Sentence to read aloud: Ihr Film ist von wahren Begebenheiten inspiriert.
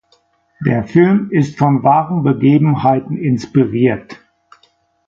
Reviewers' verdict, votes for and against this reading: accepted, 2, 1